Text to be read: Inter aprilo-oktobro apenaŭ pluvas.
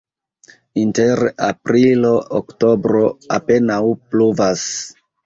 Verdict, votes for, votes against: rejected, 1, 2